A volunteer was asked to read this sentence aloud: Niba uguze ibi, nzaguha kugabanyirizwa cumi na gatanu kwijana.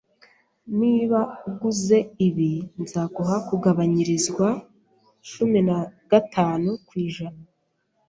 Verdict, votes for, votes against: accepted, 2, 0